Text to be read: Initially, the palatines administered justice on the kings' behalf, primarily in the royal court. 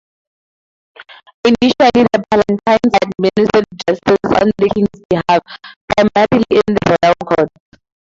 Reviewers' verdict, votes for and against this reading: rejected, 0, 2